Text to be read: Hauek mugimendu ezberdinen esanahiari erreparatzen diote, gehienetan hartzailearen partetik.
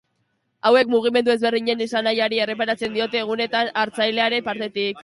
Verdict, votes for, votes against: rejected, 1, 2